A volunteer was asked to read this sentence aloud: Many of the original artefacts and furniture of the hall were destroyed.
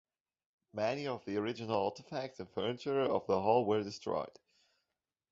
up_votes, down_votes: 0, 2